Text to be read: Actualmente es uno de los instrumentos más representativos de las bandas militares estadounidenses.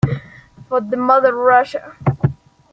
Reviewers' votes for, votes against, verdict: 0, 2, rejected